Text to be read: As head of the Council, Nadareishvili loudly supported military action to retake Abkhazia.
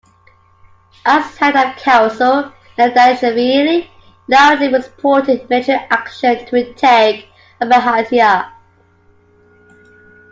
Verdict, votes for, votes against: accepted, 2, 0